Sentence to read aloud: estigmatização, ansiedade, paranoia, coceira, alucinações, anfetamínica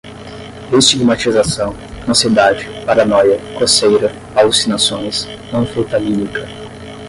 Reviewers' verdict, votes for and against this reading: rejected, 0, 5